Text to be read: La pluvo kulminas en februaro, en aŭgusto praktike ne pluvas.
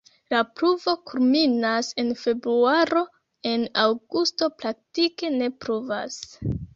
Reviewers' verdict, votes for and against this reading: rejected, 0, 2